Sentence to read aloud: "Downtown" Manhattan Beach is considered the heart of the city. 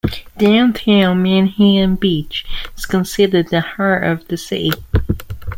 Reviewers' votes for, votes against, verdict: 1, 2, rejected